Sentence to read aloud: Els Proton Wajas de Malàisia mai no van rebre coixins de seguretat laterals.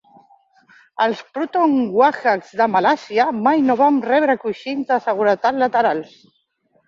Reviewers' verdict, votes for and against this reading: accepted, 2, 1